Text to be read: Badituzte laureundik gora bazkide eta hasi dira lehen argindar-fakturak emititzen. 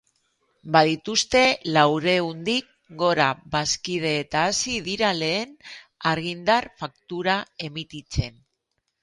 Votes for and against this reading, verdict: 0, 2, rejected